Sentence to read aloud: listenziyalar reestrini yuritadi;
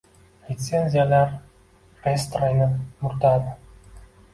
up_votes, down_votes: 1, 2